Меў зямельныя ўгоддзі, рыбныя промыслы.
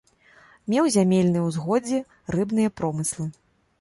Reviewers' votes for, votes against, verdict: 0, 2, rejected